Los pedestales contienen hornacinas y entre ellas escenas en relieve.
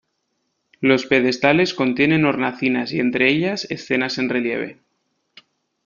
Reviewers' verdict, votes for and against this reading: accepted, 2, 0